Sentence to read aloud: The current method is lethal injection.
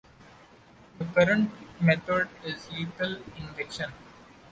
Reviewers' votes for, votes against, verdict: 2, 0, accepted